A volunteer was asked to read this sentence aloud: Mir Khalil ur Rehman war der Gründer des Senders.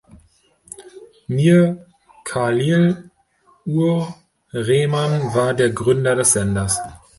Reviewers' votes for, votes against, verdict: 0, 2, rejected